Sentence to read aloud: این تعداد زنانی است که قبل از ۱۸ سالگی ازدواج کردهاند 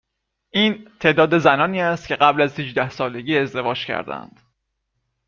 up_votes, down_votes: 0, 2